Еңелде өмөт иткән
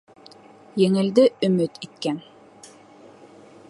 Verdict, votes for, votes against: accepted, 3, 0